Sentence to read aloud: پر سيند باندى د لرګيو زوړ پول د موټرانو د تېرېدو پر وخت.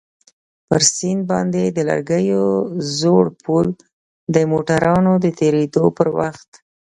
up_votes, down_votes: 2, 1